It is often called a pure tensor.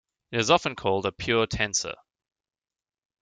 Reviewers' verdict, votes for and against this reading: accepted, 2, 0